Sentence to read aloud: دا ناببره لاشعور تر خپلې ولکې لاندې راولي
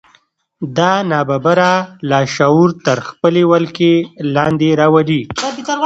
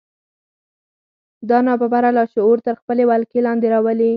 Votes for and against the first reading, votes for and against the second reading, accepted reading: 1, 2, 4, 0, second